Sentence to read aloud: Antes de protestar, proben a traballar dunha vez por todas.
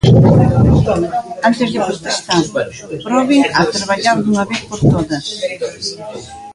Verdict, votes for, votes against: rejected, 0, 2